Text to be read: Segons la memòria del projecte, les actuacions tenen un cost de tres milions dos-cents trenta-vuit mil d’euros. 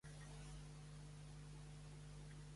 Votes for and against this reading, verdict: 1, 2, rejected